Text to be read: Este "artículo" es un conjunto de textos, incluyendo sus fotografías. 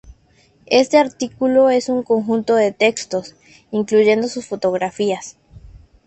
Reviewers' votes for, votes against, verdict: 2, 0, accepted